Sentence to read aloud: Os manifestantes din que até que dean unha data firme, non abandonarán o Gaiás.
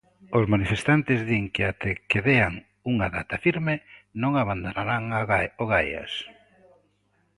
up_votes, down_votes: 0, 2